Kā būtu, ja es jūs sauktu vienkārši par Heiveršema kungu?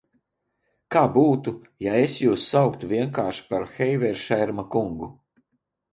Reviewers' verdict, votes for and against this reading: rejected, 0, 2